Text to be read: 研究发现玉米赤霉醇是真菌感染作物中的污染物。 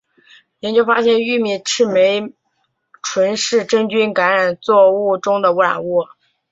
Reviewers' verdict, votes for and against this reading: accepted, 4, 0